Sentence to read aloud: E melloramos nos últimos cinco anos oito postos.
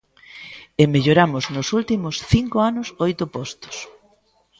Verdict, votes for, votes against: accepted, 2, 0